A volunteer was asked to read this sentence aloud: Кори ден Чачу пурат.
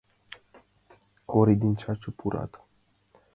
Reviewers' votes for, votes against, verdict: 2, 0, accepted